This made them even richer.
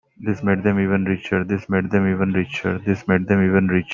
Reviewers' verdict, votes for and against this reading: rejected, 1, 2